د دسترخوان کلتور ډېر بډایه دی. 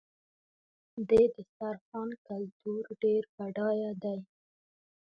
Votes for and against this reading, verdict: 2, 0, accepted